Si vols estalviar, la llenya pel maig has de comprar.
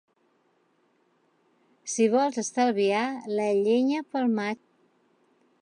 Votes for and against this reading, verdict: 1, 2, rejected